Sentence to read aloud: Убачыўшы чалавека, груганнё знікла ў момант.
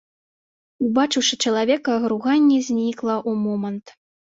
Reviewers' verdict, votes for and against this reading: rejected, 0, 2